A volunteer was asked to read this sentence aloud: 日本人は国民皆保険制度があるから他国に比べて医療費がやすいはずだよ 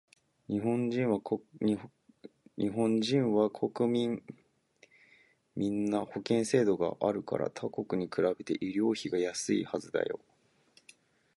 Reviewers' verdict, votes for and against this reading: rejected, 0, 2